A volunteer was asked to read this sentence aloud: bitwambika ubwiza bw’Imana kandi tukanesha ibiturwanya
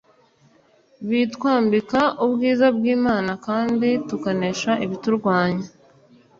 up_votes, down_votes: 2, 0